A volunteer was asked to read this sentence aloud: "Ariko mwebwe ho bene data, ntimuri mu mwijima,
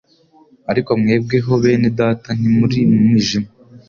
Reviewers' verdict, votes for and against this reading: accepted, 2, 0